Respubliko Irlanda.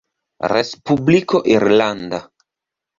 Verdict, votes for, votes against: accepted, 2, 0